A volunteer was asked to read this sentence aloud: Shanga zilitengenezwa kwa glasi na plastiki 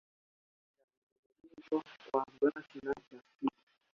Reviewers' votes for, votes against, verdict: 2, 1, accepted